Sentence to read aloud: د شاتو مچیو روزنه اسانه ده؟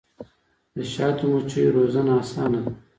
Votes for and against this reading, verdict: 2, 0, accepted